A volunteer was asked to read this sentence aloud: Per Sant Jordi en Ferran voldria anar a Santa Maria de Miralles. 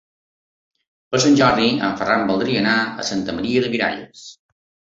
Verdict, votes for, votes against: accepted, 3, 1